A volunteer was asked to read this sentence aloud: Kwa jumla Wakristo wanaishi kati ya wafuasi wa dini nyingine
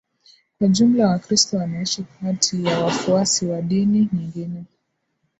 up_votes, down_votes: 2, 0